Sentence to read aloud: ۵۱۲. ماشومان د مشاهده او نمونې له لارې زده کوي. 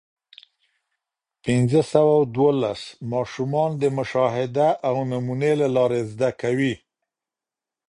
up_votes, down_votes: 0, 2